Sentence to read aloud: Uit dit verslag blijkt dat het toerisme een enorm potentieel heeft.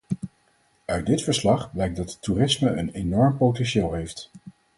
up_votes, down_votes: 4, 0